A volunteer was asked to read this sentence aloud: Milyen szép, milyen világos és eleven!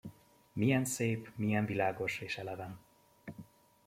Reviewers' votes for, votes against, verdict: 2, 0, accepted